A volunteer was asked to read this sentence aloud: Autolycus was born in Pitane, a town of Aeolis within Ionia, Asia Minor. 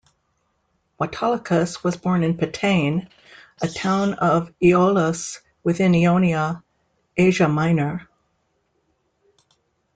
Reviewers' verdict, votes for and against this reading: accepted, 2, 0